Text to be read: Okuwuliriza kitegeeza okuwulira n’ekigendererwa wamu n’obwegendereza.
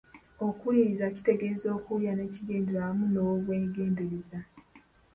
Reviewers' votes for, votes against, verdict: 1, 2, rejected